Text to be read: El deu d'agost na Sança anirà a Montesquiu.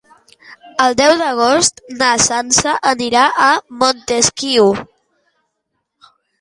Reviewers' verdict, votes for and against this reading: rejected, 1, 2